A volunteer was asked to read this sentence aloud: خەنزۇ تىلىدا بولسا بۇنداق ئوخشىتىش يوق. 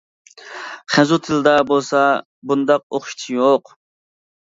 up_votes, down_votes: 1, 2